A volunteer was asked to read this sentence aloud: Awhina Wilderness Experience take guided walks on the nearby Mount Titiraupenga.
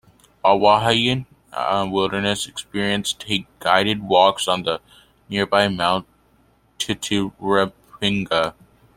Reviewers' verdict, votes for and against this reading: rejected, 1, 2